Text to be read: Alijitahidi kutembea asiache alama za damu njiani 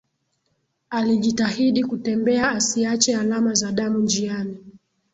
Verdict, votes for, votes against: rejected, 1, 2